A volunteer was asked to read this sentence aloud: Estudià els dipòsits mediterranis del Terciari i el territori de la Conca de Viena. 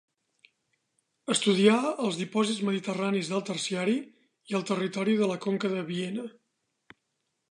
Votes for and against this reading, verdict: 3, 0, accepted